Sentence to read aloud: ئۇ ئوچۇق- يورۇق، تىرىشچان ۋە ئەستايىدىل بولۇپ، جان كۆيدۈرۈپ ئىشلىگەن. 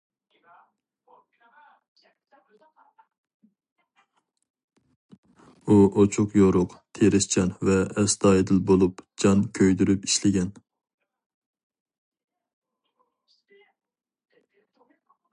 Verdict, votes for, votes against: rejected, 0, 2